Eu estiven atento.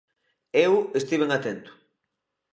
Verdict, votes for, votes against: accepted, 2, 0